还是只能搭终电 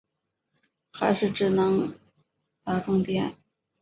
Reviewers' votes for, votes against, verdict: 0, 3, rejected